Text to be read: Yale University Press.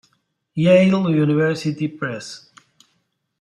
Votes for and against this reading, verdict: 2, 3, rejected